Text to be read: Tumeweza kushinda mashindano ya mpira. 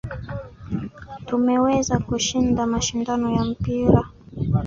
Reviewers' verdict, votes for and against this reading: rejected, 1, 2